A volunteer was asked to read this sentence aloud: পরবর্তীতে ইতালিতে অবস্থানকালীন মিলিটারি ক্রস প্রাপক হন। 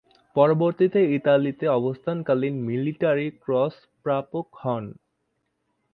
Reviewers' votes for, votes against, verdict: 2, 0, accepted